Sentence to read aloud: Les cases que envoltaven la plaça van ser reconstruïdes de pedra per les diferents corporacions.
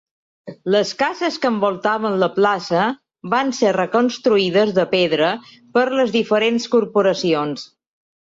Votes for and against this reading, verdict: 4, 0, accepted